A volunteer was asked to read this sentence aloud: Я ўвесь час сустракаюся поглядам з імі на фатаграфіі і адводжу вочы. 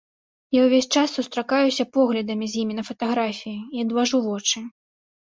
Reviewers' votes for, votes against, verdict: 1, 2, rejected